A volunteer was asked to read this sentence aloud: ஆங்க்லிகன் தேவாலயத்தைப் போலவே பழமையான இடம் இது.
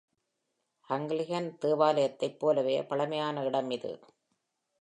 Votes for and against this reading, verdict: 2, 1, accepted